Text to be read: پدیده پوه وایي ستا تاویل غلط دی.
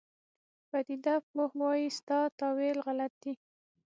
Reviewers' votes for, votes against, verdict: 6, 0, accepted